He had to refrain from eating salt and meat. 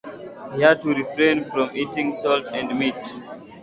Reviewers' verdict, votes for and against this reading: accepted, 7, 2